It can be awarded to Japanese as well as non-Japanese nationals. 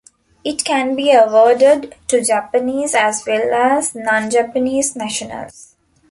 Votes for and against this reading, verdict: 2, 0, accepted